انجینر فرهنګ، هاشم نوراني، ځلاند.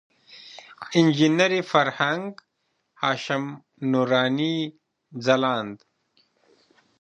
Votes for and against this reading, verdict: 2, 1, accepted